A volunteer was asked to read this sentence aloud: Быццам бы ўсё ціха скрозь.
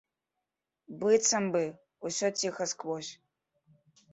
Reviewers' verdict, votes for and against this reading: rejected, 1, 2